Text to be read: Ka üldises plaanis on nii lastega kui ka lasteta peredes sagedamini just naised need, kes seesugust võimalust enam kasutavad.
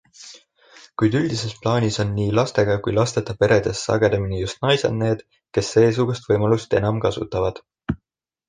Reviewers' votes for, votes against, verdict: 1, 2, rejected